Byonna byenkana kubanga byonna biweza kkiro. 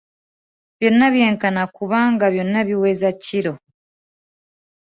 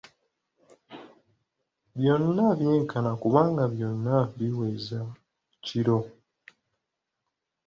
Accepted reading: first